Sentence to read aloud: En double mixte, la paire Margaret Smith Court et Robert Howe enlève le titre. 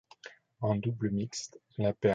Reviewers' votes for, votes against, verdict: 0, 2, rejected